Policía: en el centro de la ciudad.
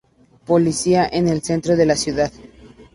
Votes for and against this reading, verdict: 2, 0, accepted